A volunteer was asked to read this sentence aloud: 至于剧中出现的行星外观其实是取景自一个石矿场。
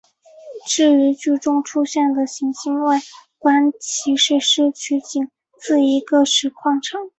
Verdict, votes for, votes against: accepted, 5, 0